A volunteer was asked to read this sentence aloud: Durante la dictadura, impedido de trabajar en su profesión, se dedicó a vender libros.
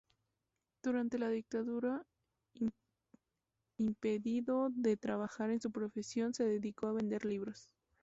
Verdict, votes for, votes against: accepted, 2, 0